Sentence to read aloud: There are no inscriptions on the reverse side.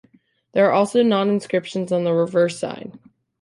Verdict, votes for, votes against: rejected, 0, 2